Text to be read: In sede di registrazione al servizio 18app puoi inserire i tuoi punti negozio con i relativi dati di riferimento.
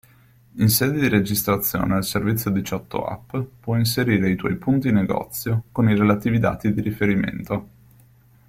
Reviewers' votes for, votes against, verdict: 0, 2, rejected